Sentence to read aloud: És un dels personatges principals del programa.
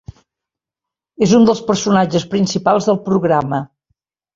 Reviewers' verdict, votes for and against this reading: accepted, 3, 0